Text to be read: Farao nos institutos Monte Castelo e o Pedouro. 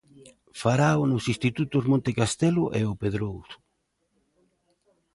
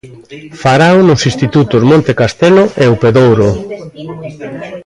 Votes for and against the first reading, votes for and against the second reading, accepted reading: 0, 2, 2, 1, second